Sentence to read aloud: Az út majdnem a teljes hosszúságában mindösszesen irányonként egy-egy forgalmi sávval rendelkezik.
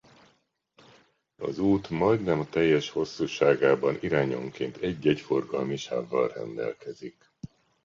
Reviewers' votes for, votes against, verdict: 0, 2, rejected